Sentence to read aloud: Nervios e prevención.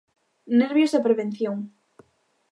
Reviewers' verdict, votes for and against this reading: accepted, 2, 0